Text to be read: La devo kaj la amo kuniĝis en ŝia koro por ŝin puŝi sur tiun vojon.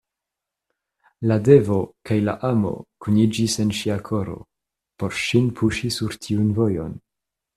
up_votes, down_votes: 2, 0